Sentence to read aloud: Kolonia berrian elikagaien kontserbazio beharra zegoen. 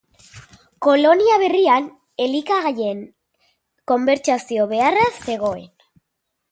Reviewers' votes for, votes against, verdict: 0, 2, rejected